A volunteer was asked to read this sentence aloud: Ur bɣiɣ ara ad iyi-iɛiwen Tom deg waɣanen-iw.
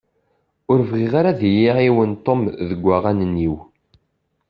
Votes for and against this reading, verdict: 2, 0, accepted